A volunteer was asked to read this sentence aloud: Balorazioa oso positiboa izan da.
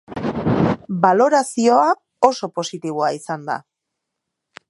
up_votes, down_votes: 1, 2